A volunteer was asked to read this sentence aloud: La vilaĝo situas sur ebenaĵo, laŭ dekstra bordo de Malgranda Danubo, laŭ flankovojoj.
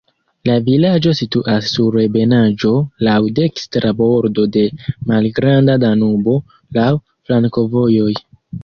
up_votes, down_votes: 1, 2